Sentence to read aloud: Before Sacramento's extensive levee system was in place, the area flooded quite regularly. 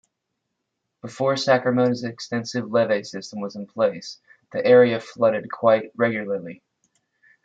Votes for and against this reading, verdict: 0, 2, rejected